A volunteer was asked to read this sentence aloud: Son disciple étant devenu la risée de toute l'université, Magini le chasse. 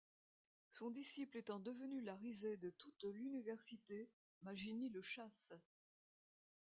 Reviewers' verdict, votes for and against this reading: rejected, 1, 2